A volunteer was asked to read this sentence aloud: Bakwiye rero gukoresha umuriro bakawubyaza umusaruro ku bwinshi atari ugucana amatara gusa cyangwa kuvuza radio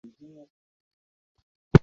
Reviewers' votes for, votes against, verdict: 0, 2, rejected